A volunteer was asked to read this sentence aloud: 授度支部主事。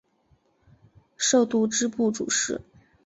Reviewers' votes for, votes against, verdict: 3, 0, accepted